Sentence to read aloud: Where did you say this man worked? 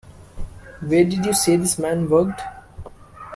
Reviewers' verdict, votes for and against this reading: accepted, 2, 0